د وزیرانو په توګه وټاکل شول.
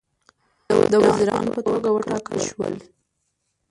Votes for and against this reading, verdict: 0, 2, rejected